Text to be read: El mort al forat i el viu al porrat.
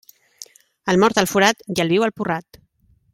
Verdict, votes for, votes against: accepted, 2, 0